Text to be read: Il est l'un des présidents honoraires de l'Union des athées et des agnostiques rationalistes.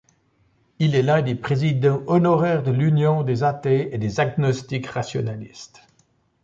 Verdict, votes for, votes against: accepted, 2, 1